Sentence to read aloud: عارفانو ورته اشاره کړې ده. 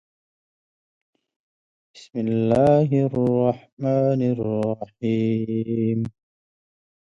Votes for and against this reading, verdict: 1, 2, rejected